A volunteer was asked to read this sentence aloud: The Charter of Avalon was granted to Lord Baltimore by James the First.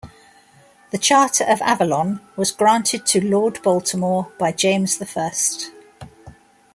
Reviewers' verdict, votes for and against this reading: accepted, 2, 0